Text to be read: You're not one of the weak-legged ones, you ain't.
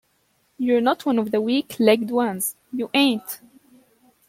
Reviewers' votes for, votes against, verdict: 2, 0, accepted